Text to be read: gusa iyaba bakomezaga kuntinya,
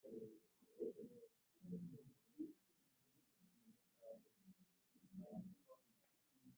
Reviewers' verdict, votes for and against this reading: rejected, 1, 2